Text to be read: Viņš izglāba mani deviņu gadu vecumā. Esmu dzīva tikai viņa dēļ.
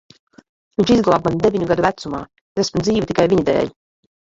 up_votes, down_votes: 1, 2